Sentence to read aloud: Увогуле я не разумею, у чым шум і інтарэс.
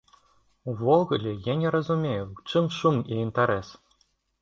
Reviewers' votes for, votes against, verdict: 2, 0, accepted